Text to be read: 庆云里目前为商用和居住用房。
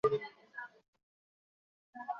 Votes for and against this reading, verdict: 0, 2, rejected